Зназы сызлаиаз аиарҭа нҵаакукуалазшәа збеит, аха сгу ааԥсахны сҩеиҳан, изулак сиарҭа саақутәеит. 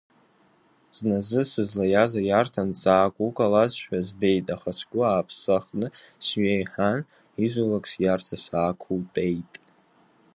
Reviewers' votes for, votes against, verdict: 1, 2, rejected